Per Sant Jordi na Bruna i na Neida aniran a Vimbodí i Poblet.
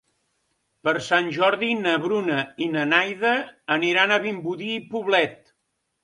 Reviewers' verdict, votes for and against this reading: rejected, 2, 3